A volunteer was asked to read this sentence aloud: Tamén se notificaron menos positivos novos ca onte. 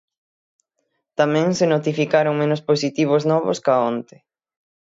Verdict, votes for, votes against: accepted, 6, 0